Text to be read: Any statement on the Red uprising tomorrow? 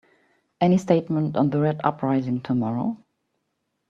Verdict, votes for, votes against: accepted, 2, 0